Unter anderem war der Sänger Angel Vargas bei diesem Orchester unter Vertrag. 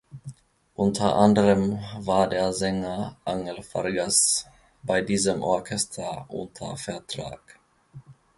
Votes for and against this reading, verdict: 2, 1, accepted